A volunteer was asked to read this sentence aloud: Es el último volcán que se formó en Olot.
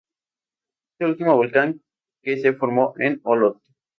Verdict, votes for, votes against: accepted, 2, 0